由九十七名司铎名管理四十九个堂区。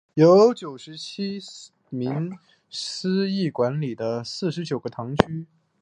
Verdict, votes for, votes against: accepted, 3, 0